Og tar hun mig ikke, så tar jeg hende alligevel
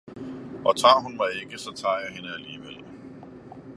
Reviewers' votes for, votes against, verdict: 2, 0, accepted